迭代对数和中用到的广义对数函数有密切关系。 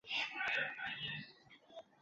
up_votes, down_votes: 0, 2